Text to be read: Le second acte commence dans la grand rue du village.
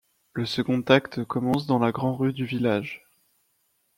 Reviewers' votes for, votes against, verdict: 2, 0, accepted